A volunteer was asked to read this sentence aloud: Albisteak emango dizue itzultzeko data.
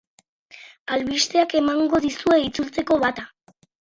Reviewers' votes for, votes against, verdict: 4, 0, accepted